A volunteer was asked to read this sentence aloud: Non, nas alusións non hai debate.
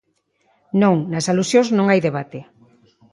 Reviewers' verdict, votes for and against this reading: accepted, 2, 0